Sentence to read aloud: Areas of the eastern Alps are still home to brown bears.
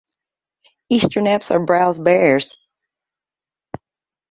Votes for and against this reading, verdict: 0, 2, rejected